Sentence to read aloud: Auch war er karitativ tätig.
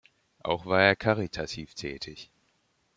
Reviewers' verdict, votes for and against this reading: accepted, 2, 0